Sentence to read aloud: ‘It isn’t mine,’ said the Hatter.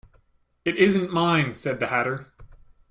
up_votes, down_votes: 2, 0